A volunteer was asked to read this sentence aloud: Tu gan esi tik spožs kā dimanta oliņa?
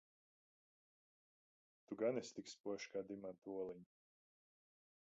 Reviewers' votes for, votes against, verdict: 1, 2, rejected